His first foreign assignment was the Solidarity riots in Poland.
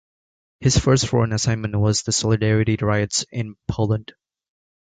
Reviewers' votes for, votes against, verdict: 2, 0, accepted